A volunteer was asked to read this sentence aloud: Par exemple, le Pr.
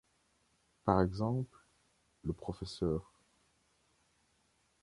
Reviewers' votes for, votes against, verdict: 2, 0, accepted